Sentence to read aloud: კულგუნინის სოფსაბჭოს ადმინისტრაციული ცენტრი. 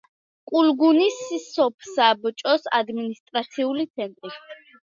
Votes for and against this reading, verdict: 1, 2, rejected